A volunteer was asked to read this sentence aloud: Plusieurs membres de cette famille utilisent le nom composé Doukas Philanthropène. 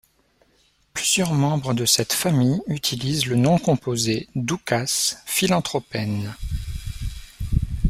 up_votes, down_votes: 0, 2